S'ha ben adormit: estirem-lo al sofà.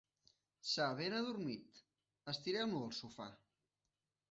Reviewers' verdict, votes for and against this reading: accepted, 2, 0